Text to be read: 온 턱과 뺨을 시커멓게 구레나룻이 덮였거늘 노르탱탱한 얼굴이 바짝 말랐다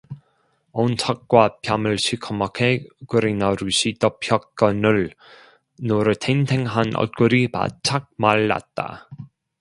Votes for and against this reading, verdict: 0, 2, rejected